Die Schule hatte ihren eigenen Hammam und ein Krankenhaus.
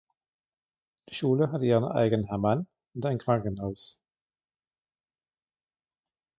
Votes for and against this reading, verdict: 2, 0, accepted